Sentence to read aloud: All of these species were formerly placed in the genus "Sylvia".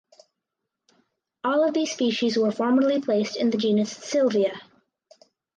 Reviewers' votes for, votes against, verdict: 4, 0, accepted